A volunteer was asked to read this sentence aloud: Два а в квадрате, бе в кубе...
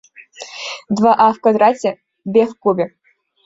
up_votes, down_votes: 0, 2